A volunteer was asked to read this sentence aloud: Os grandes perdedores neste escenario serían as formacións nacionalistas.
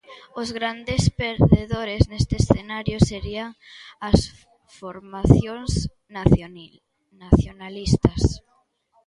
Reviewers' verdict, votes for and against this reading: accepted, 2, 1